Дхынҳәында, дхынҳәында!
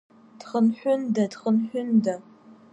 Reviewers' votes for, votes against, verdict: 2, 0, accepted